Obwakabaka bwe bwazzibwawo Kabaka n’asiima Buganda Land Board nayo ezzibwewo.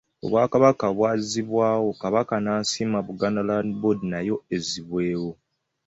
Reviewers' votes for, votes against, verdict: 1, 2, rejected